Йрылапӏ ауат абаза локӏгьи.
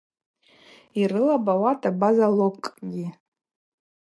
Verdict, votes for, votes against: accepted, 4, 0